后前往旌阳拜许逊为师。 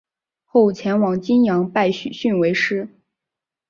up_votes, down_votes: 3, 0